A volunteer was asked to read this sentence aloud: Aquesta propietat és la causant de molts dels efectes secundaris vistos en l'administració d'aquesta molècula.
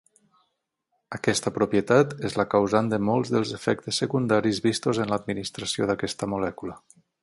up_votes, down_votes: 18, 0